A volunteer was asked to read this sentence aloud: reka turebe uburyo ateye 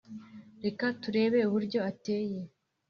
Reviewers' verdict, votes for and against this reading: accepted, 3, 0